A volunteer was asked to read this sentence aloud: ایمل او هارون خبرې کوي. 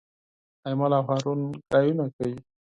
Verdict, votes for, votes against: rejected, 2, 4